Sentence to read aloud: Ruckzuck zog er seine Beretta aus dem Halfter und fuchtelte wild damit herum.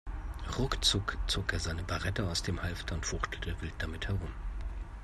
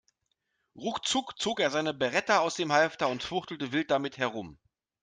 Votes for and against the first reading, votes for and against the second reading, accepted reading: 1, 2, 2, 0, second